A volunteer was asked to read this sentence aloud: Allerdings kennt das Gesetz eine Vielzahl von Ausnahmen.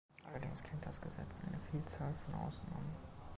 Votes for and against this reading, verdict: 1, 2, rejected